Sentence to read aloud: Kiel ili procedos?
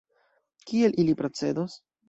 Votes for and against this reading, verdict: 2, 1, accepted